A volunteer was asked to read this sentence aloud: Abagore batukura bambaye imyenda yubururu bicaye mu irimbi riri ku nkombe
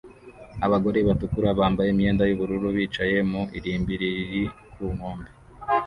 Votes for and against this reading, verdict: 1, 2, rejected